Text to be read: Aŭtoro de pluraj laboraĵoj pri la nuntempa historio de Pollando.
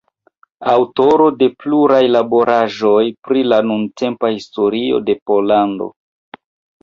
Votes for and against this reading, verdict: 0, 2, rejected